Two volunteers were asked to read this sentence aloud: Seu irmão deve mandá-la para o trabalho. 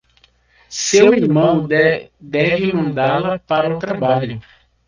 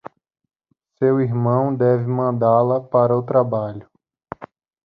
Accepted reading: second